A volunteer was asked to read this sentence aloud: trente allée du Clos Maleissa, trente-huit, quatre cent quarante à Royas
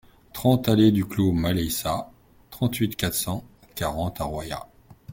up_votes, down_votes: 3, 0